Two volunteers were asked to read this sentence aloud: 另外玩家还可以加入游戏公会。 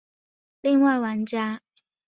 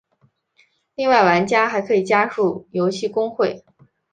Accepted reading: second